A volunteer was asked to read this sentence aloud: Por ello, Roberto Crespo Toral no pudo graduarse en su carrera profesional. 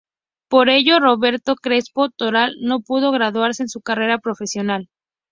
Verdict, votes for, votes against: accepted, 4, 0